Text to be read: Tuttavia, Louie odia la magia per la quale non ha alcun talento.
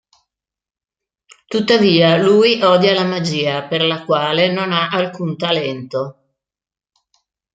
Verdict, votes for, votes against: rejected, 1, 2